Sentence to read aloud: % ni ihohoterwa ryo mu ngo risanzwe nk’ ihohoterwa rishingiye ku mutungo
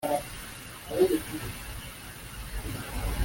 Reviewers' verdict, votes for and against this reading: rejected, 0, 2